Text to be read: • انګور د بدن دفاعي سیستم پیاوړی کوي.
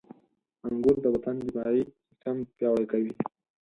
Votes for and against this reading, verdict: 4, 2, accepted